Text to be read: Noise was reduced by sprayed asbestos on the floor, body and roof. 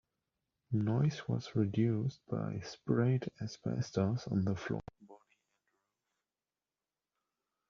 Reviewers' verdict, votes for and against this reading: rejected, 1, 2